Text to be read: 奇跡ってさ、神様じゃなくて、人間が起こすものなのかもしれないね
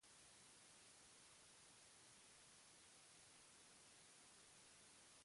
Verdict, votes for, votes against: rejected, 0, 2